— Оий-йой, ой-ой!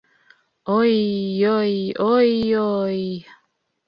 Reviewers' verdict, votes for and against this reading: accepted, 2, 0